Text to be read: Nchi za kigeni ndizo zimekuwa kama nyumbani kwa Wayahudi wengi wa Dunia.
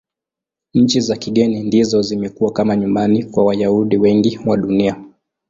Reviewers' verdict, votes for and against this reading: accepted, 13, 2